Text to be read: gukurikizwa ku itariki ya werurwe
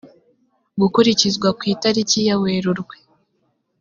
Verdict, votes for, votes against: accepted, 2, 0